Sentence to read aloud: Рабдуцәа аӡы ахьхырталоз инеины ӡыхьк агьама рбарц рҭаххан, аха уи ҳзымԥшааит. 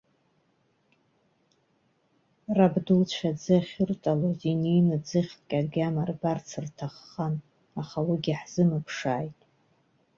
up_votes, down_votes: 0, 2